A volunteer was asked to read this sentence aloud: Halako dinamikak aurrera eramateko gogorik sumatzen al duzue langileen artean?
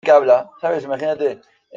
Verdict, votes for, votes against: rejected, 0, 2